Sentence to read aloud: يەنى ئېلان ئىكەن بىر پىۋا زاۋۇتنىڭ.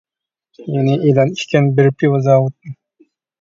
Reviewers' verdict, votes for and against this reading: rejected, 0, 2